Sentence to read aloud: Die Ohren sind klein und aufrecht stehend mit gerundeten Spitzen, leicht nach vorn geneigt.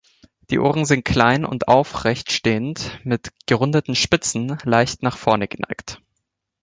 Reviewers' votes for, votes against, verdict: 3, 2, accepted